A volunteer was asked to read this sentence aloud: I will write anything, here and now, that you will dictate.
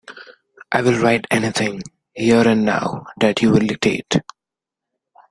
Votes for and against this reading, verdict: 0, 2, rejected